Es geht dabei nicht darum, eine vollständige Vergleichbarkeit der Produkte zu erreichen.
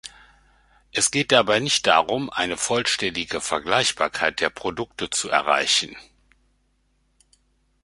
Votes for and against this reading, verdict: 2, 0, accepted